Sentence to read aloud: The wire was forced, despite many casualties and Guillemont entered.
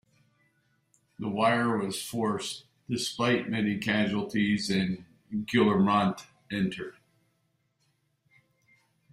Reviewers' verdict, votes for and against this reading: rejected, 0, 2